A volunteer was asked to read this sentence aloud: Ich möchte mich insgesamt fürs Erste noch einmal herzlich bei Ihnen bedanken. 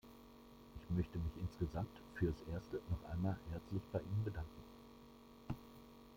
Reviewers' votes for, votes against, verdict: 1, 2, rejected